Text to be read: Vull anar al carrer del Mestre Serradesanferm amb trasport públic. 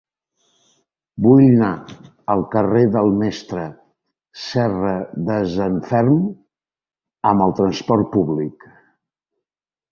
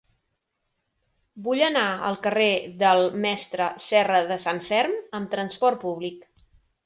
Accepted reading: second